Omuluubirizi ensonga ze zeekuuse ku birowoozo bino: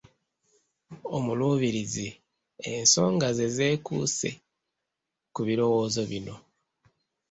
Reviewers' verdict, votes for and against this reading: accepted, 2, 0